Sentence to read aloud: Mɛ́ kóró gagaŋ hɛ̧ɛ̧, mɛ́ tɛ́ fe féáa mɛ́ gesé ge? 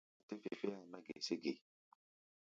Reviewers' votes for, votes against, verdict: 0, 2, rejected